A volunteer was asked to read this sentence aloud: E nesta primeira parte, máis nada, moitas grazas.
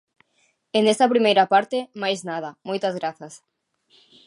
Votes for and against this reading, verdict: 2, 0, accepted